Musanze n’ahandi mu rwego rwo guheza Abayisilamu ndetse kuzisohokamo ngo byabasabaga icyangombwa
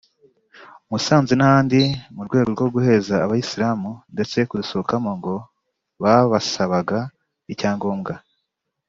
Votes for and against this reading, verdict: 0, 3, rejected